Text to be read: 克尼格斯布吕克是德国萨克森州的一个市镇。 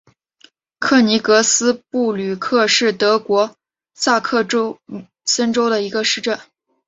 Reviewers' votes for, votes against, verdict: 2, 2, rejected